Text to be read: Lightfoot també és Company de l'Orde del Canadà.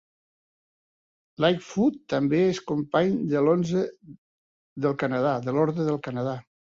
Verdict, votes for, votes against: rejected, 0, 2